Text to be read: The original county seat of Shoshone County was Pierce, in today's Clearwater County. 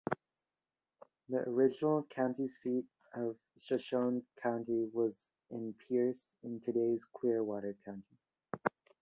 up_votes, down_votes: 0, 2